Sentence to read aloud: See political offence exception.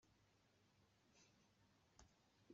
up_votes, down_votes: 0, 2